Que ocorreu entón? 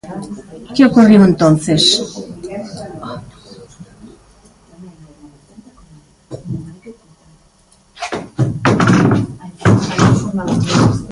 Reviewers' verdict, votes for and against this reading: rejected, 0, 2